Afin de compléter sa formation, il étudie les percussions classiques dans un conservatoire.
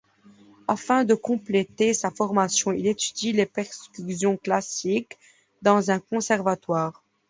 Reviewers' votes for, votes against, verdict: 1, 2, rejected